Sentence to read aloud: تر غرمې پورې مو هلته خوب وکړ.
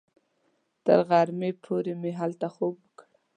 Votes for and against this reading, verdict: 2, 0, accepted